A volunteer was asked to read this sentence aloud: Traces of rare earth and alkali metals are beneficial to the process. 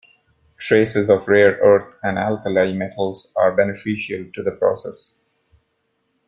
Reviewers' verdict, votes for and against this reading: accepted, 2, 0